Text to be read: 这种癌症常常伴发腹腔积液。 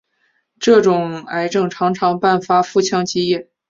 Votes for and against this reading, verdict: 4, 0, accepted